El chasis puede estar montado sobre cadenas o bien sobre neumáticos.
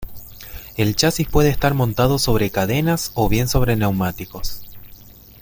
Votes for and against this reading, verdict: 2, 0, accepted